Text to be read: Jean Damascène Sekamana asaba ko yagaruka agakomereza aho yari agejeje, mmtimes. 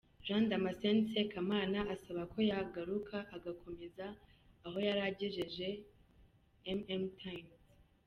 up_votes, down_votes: 1, 2